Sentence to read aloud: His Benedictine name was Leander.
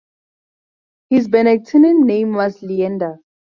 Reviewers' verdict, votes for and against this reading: rejected, 0, 2